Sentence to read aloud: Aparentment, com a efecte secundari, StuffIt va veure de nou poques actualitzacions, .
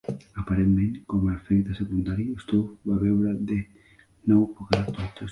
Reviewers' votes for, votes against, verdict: 1, 2, rejected